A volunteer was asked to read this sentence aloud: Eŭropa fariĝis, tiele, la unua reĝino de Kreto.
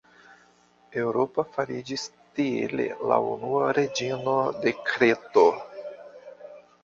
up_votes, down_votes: 0, 2